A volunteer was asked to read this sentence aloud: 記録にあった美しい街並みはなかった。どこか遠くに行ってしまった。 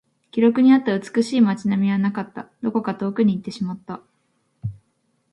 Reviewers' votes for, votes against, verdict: 2, 0, accepted